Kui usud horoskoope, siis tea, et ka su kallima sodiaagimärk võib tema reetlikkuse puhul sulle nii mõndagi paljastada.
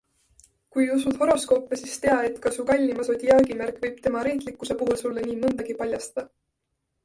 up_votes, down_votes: 2, 0